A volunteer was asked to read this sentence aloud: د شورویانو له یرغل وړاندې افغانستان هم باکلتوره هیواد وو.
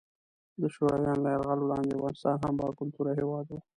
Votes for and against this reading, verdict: 0, 2, rejected